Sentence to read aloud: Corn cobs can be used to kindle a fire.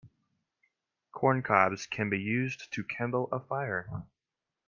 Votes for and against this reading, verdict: 2, 0, accepted